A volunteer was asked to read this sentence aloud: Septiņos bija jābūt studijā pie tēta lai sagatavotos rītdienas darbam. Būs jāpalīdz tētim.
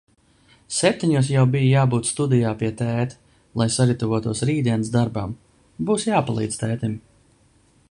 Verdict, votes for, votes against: rejected, 0, 2